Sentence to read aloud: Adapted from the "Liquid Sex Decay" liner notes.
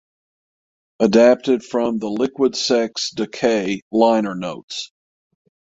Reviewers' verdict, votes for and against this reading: accepted, 6, 0